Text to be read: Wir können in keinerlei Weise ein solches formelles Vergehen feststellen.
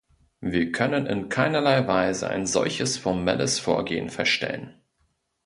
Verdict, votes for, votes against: rejected, 0, 2